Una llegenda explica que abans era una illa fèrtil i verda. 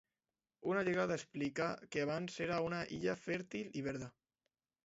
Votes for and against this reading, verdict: 0, 3, rejected